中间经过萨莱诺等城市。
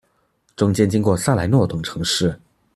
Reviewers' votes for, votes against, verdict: 2, 0, accepted